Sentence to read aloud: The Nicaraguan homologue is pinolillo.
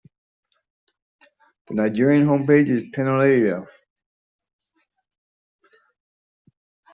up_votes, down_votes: 0, 2